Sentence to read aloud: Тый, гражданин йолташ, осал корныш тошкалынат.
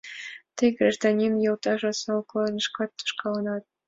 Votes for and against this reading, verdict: 3, 2, accepted